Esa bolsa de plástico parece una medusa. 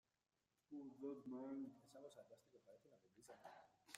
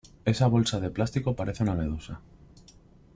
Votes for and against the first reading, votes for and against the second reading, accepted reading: 0, 2, 2, 0, second